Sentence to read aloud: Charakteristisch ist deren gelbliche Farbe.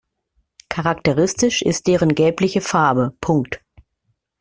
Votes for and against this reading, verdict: 0, 2, rejected